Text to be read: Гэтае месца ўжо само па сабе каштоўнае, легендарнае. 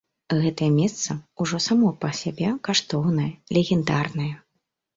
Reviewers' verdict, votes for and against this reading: rejected, 0, 2